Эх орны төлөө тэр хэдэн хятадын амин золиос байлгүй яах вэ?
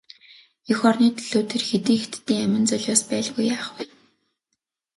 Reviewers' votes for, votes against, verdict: 4, 0, accepted